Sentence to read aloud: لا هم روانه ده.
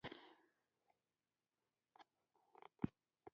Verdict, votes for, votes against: rejected, 1, 2